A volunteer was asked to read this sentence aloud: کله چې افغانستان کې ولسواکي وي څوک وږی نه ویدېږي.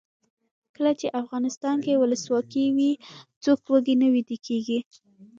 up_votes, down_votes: 1, 2